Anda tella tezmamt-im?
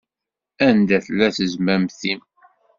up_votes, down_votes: 2, 0